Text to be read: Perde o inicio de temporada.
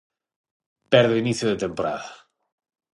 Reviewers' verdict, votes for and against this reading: accepted, 6, 0